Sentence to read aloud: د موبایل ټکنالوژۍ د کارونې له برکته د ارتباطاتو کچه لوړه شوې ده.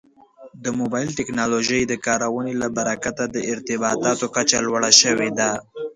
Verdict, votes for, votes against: accepted, 2, 0